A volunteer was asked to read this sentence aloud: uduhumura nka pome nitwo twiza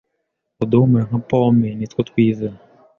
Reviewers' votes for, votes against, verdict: 2, 0, accepted